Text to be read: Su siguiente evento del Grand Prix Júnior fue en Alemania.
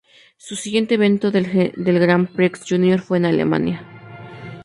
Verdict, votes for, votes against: rejected, 0, 2